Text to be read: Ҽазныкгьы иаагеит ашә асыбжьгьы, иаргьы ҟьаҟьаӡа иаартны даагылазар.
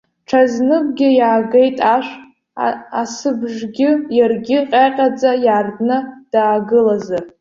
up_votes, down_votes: 0, 2